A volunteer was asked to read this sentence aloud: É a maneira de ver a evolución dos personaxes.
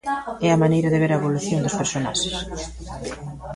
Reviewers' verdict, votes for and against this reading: rejected, 1, 2